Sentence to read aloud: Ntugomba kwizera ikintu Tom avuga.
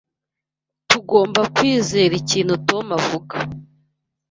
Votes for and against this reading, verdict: 1, 2, rejected